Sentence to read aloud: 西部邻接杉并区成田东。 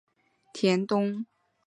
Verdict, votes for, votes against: rejected, 0, 2